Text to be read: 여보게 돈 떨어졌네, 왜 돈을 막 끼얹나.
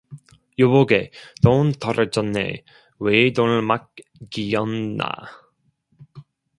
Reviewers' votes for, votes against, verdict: 0, 2, rejected